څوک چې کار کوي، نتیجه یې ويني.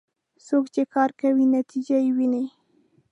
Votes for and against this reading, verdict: 2, 0, accepted